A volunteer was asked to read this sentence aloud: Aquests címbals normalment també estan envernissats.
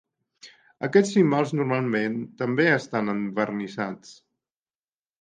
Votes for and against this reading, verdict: 0, 2, rejected